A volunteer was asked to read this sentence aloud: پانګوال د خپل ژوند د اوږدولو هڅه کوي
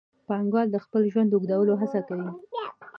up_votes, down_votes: 2, 0